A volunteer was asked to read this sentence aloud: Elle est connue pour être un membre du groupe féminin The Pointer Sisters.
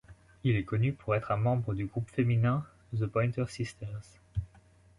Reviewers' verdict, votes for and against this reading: rejected, 1, 2